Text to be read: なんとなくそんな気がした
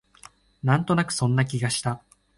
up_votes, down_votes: 2, 1